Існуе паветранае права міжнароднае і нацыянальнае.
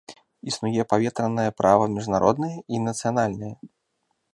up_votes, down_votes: 2, 0